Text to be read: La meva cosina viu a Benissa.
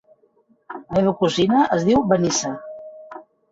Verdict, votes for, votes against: rejected, 0, 2